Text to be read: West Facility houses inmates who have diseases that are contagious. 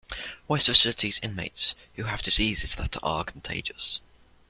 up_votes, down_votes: 0, 2